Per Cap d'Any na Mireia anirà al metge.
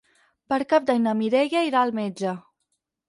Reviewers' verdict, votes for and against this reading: rejected, 2, 4